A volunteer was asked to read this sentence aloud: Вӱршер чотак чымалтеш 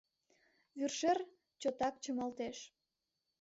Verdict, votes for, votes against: accepted, 3, 0